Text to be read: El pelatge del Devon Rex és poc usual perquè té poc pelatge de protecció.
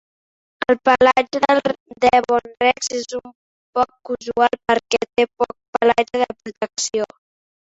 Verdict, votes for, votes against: accepted, 2, 1